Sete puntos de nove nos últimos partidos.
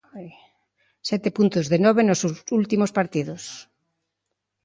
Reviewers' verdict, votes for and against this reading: rejected, 0, 2